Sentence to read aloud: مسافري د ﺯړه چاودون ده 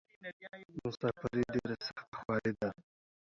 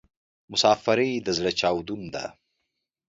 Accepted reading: second